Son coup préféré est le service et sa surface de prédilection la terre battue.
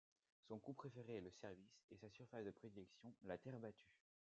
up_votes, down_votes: 2, 0